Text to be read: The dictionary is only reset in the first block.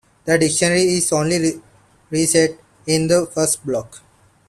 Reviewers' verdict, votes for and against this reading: rejected, 0, 2